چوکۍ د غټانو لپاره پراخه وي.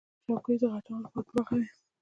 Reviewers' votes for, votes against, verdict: 0, 2, rejected